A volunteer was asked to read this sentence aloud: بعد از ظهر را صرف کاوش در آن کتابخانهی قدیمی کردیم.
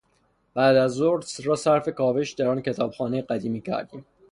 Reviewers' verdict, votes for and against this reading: rejected, 0, 3